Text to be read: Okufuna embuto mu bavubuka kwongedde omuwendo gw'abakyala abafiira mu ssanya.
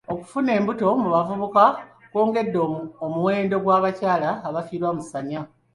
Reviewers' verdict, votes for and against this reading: rejected, 3, 5